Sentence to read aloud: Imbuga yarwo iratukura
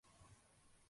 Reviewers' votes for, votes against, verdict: 0, 2, rejected